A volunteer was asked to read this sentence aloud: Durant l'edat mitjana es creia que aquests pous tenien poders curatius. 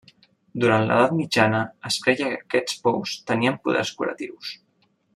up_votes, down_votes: 2, 0